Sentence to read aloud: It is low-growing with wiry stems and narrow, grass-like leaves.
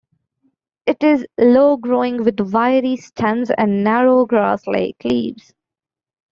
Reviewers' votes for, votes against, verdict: 2, 1, accepted